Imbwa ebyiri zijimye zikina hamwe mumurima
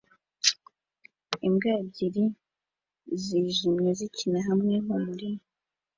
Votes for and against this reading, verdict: 2, 1, accepted